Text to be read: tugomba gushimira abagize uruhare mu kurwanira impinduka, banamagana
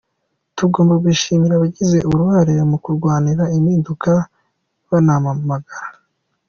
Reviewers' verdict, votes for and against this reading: accepted, 2, 1